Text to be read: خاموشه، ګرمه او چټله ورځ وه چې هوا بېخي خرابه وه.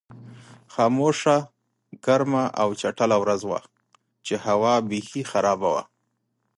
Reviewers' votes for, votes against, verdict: 2, 0, accepted